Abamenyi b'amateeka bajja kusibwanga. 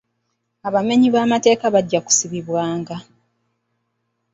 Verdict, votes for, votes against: accepted, 3, 0